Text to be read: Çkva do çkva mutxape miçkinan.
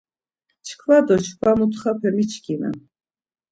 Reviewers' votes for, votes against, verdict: 2, 0, accepted